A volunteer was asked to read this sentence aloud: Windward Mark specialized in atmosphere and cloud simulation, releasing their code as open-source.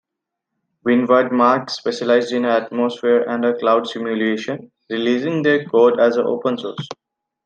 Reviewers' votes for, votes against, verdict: 2, 1, accepted